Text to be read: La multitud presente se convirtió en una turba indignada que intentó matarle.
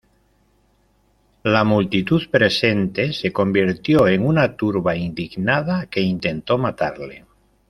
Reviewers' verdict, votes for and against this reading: accepted, 2, 0